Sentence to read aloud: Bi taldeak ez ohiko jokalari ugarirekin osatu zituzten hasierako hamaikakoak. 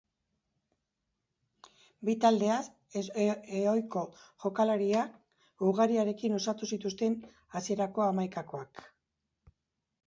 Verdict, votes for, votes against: rejected, 1, 2